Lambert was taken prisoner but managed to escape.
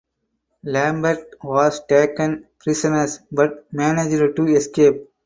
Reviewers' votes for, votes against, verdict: 0, 4, rejected